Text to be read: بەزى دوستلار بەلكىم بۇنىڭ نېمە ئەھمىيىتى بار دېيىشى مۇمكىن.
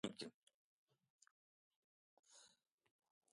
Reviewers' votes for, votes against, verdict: 0, 2, rejected